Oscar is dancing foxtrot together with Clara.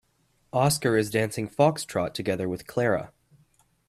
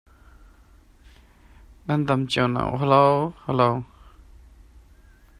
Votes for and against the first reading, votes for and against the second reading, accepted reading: 3, 0, 0, 2, first